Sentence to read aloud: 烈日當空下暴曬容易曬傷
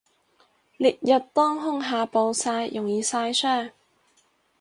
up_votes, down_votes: 4, 0